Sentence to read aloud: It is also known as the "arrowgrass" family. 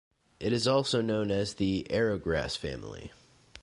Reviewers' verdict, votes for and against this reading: accepted, 2, 0